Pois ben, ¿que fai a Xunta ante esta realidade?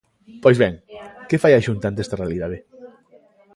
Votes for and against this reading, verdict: 1, 2, rejected